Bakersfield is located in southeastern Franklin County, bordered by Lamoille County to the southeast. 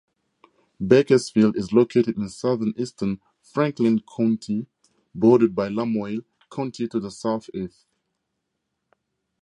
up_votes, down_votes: 2, 2